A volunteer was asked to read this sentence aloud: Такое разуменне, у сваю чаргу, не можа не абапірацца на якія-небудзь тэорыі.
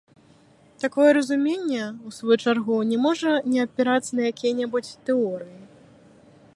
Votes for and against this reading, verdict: 1, 2, rejected